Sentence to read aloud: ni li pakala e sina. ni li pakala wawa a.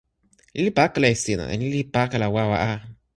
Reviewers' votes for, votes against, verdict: 2, 0, accepted